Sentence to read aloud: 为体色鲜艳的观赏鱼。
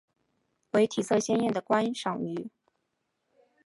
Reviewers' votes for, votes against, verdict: 2, 2, rejected